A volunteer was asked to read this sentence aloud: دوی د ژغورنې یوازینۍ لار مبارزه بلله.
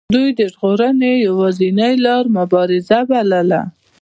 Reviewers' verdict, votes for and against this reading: accepted, 2, 1